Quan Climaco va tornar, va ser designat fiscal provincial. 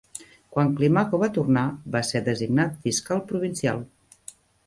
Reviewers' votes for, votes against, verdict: 3, 0, accepted